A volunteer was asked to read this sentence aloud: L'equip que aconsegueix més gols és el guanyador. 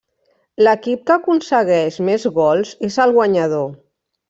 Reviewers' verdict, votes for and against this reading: rejected, 1, 2